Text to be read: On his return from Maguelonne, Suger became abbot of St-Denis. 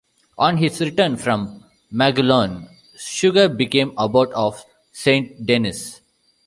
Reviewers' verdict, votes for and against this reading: accepted, 2, 0